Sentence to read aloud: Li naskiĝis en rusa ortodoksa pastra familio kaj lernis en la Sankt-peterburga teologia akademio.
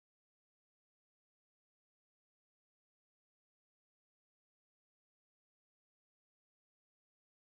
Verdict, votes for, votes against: rejected, 0, 2